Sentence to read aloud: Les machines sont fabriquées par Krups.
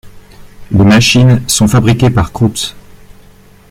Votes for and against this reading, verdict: 2, 1, accepted